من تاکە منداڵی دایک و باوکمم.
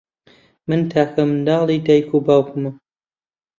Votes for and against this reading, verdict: 2, 0, accepted